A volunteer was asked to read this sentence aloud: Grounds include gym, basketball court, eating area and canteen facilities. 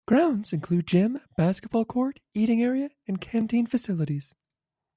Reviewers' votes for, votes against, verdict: 1, 2, rejected